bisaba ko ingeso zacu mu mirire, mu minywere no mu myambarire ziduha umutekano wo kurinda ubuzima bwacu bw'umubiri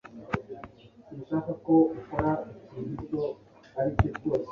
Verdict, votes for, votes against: rejected, 1, 2